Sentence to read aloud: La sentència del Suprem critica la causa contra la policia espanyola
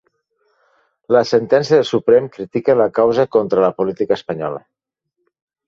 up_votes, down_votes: 2, 1